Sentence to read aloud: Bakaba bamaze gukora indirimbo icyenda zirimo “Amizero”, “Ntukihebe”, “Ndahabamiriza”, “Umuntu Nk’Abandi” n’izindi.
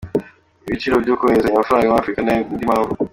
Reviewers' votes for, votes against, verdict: 0, 2, rejected